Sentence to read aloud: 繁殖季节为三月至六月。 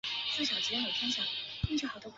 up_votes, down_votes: 1, 2